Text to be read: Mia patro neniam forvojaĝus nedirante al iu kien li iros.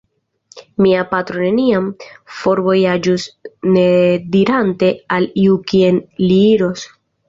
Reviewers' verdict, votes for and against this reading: accepted, 2, 0